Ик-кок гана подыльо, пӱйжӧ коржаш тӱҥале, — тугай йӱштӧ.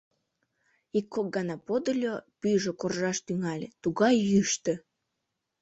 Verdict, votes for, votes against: rejected, 0, 2